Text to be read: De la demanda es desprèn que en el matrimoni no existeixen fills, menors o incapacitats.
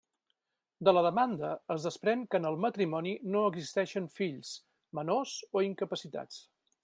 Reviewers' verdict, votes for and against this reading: accepted, 3, 0